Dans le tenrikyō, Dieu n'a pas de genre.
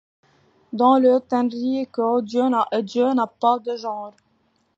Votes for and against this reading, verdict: 1, 2, rejected